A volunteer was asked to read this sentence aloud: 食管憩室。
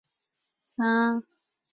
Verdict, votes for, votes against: rejected, 1, 3